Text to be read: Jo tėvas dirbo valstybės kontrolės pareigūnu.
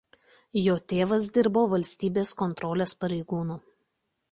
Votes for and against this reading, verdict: 2, 0, accepted